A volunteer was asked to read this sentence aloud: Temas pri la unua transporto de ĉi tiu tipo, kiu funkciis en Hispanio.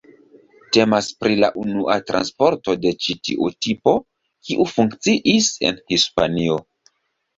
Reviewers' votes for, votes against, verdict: 2, 0, accepted